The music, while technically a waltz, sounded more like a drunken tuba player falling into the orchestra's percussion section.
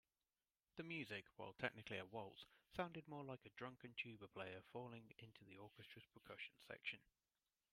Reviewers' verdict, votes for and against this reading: rejected, 1, 2